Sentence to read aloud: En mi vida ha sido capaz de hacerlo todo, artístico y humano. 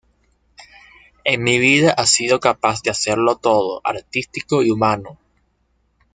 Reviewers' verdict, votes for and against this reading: accepted, 2, 0